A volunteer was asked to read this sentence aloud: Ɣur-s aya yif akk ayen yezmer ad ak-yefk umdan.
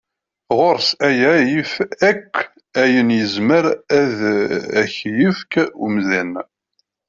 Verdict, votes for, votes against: rejected, 1, 2